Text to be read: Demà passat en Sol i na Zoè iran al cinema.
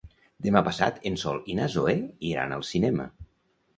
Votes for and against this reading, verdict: 2, 0, accepted